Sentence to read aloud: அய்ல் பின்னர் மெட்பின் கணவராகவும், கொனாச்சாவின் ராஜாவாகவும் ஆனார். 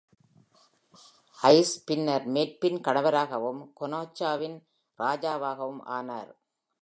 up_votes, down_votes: 2, 0